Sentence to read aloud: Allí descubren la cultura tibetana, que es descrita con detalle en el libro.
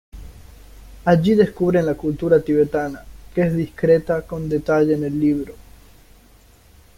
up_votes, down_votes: 2, 1